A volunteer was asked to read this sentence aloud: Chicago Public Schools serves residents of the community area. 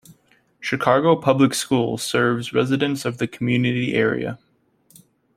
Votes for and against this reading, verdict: 2, 0, accepted